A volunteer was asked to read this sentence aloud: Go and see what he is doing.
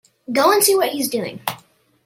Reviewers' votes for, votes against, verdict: 1, 2, rejected